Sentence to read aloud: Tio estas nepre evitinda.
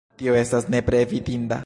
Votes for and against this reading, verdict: 0, 2, rejected